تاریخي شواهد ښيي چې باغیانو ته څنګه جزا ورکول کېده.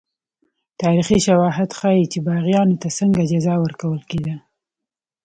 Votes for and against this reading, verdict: 2, 0, accepted